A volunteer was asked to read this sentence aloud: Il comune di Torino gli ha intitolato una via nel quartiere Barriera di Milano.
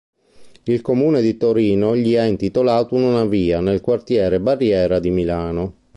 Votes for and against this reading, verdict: 2, 0, accepted